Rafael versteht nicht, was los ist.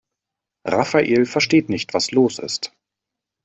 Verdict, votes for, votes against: accepted, 2, 0